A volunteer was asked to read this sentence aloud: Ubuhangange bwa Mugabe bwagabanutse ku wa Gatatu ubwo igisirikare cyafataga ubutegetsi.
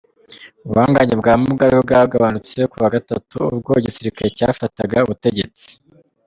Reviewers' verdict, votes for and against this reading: accepted, 2, 1